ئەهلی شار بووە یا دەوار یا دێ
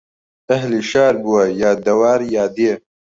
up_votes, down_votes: 2, 0